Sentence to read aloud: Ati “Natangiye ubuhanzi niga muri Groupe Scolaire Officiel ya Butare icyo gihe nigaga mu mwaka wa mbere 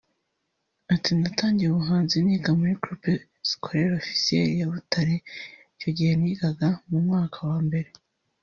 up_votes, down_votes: 1, 2